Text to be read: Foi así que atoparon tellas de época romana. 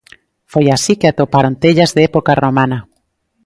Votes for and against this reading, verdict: 2, 0, accepted